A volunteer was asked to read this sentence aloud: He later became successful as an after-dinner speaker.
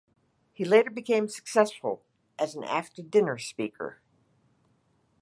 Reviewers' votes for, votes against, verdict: 2, 0, accepted